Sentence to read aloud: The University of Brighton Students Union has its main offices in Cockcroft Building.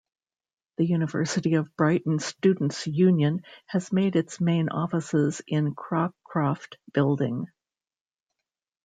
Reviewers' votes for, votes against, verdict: 0, 2, rejected